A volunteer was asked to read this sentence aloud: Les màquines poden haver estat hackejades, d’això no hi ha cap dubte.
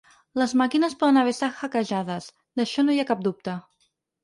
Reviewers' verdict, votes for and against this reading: rejected, 2, 4